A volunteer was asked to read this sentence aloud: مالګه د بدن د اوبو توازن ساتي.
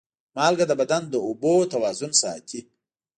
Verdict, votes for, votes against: accepted, 2, 0